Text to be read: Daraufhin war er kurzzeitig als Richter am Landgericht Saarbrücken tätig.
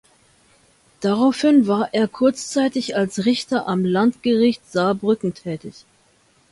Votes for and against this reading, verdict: 2, 0, accepted